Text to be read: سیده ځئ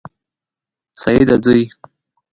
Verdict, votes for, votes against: accepted, 2, 1